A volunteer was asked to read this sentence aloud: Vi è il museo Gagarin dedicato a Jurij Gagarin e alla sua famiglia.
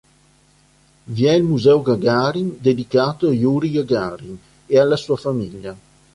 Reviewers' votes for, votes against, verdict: 3, 0, accepted